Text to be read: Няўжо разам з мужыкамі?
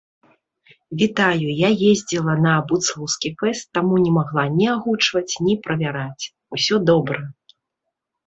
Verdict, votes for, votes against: rejected, 0, 2